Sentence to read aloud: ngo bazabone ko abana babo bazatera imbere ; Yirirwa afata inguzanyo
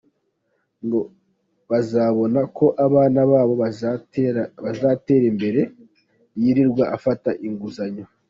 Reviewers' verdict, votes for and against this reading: rejected, 0, 2